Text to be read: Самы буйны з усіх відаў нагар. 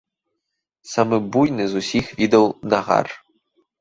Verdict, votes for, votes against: rejected, 0, 2